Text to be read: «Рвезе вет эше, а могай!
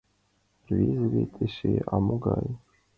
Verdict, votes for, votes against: accepted, 2, 0